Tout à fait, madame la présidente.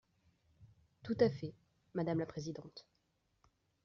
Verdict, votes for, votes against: accepted, 2, 0